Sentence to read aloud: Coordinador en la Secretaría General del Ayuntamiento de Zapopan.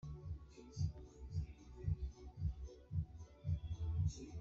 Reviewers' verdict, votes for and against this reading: rejected, 1, 2